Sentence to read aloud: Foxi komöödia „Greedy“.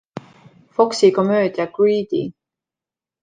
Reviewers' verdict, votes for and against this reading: accepted, 2, 0